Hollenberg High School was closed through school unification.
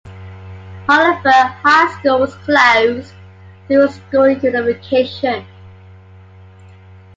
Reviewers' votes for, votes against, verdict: 2, 1, accepted